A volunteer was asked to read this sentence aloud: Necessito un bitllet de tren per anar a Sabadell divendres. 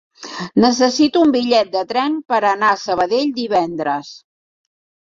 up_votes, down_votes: 3, 0